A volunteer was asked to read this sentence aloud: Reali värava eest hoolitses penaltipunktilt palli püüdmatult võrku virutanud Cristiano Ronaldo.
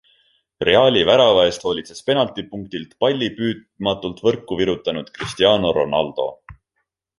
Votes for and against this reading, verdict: 2, 0, accepted